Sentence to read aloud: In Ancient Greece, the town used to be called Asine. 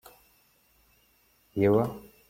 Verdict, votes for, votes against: rejected, 0, 2